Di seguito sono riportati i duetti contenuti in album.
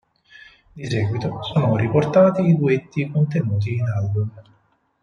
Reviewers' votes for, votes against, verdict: 4, 2, accepted